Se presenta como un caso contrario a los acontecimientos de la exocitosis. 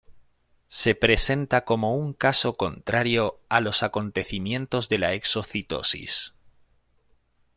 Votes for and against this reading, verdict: 2, 0, accepted